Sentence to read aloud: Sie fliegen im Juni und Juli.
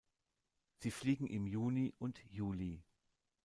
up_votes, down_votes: 2, 0